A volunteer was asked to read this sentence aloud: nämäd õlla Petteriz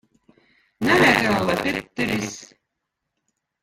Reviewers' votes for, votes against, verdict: 0, 2, rejected